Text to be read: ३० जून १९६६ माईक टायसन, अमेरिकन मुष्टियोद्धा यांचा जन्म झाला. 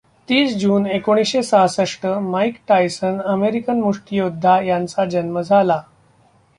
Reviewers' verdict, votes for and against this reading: rejected, 0, 2